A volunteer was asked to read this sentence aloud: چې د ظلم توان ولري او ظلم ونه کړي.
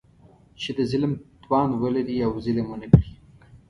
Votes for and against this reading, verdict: 2, 0, accepted